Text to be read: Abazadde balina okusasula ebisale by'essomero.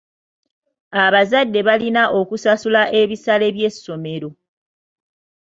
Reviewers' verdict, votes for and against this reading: accepted, 2, 0